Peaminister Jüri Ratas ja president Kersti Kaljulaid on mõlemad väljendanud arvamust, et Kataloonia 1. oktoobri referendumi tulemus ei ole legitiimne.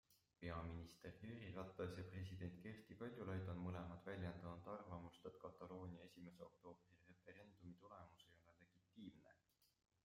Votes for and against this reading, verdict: 0, 2, rejected